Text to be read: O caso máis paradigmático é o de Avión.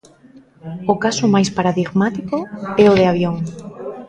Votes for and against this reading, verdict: 2, 0, accepted